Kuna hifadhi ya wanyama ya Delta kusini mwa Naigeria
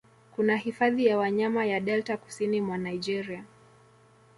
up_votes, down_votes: 2, 1